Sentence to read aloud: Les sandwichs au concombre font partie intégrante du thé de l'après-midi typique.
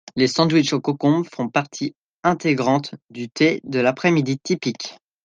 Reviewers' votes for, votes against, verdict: 2, 0, accepted